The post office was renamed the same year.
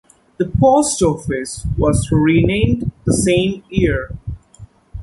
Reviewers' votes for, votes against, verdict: 2, 0, accepted